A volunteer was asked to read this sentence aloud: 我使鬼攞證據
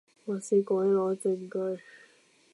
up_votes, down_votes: 0, 2